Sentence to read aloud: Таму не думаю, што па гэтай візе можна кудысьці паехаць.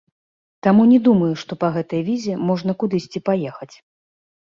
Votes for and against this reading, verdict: 2, 0, accepted